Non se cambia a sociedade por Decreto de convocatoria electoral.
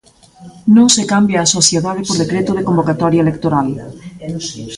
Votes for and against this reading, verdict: 0, 2, rejected